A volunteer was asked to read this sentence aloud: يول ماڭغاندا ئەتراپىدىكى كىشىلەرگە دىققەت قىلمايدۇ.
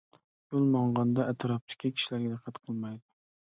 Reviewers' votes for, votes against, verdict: 0, 2, rejected